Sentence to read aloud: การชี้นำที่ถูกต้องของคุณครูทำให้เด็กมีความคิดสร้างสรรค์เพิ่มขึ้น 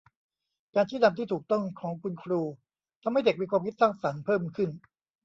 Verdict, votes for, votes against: accepted, 2, 0